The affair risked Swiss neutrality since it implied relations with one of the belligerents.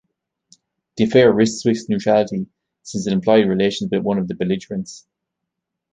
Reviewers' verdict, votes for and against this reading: rejected, 0, 2